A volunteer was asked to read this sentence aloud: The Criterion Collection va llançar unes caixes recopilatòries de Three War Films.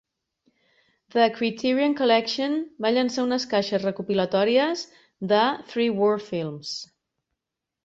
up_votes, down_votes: 2, 0